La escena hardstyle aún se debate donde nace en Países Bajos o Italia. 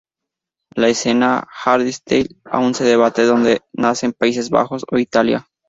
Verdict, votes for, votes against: rejected, 2, 2